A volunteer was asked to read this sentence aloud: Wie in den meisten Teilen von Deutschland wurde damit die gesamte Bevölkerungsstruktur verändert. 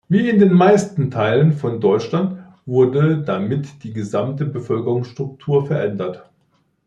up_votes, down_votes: 0, 2